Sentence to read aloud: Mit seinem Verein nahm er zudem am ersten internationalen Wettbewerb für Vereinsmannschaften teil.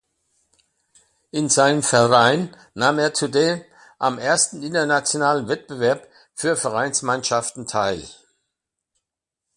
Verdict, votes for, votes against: rejected, 1, 2